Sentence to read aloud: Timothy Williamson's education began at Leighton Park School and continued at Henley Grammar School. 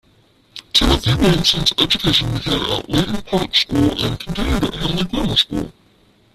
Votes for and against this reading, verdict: 0, 2, rejected